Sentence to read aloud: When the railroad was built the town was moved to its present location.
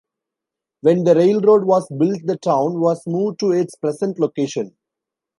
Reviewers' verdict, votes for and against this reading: rejected, 0, 2